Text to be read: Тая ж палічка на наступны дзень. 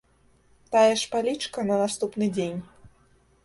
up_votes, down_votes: 2, 0